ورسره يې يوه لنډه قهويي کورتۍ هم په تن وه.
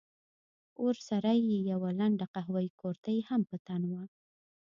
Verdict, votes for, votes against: accepted, 2, 0